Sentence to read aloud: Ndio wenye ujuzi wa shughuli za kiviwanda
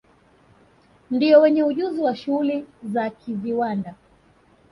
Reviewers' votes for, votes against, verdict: 2, 0, accepted